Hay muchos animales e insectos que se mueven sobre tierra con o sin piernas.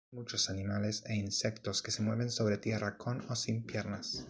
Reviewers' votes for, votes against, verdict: 1, 2, rejected